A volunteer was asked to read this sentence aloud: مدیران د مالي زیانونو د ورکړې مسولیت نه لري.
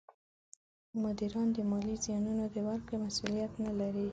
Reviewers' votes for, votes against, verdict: 2, 0, accepted